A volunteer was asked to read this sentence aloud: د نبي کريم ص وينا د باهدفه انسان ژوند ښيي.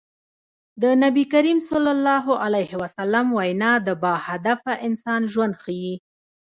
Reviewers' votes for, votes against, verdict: 0, 2, rejected